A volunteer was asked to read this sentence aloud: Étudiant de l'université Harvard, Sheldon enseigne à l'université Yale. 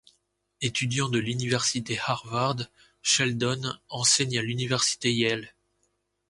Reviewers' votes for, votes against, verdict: 2, 0, accepted